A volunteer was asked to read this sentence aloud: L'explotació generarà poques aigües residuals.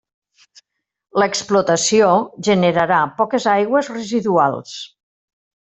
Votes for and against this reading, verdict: 3, 0, accepted